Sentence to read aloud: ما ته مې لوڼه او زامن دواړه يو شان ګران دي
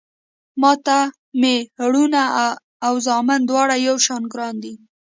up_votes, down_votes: 1, 2